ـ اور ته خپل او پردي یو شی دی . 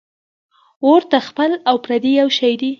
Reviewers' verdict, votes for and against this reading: accepted, 2, 1